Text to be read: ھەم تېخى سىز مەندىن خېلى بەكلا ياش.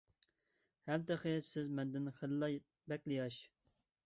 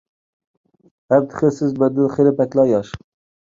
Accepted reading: second